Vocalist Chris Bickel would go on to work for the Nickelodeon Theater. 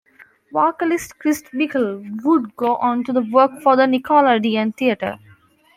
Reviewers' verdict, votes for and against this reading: rejected, 1, 2